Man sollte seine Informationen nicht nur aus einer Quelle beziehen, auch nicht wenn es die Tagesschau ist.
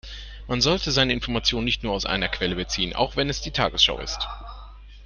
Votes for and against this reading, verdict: 0, 2, rejected